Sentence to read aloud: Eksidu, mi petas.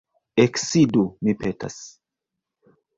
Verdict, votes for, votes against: rejected, 1, 2